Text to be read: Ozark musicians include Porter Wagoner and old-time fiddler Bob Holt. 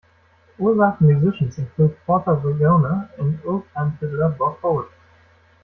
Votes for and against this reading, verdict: 0, 2, rejected